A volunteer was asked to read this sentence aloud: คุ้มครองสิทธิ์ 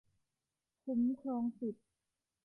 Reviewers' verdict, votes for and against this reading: accepted, 3, 0